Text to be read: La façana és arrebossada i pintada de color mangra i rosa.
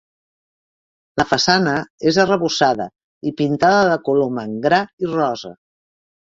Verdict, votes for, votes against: accepted, 2, 0